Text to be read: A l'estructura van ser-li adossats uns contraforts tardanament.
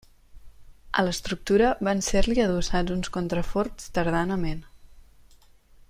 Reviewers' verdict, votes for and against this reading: accepted, 2, 0